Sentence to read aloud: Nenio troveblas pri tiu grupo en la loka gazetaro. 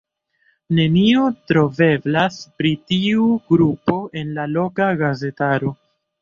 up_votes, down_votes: 0, 2